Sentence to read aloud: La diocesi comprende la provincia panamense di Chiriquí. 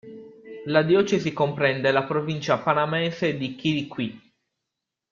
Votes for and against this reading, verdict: 2, 1, accepted